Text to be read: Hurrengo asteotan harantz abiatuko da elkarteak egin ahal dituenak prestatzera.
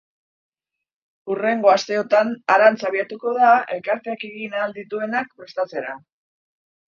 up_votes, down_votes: 3, 9